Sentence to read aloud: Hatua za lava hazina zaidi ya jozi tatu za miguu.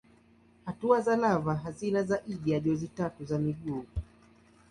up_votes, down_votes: 2, 1